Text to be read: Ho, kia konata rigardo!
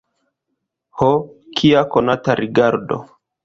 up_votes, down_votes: 1, 2